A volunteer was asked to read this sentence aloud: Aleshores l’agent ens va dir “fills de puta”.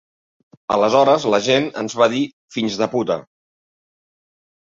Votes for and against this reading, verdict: 4, 0, accepted